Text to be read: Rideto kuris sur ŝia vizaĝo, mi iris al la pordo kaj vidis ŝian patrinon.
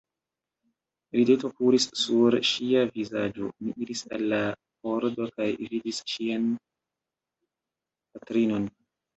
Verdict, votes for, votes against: rejected, 0, 2